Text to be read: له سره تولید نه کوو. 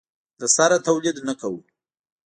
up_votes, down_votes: 2, 0